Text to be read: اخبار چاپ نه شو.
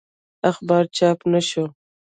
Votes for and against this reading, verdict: 1, 2, rejected